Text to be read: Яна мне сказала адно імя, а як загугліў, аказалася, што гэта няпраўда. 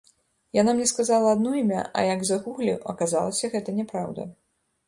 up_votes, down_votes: 1, 2